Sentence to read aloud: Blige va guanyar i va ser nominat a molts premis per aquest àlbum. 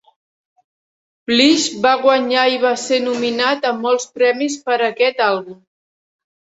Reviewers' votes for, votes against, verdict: 2, 0, accepted